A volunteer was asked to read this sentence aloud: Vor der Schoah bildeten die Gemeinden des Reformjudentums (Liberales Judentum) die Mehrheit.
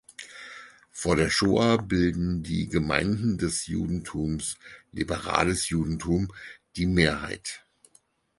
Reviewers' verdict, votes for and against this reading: rejected, 0, 4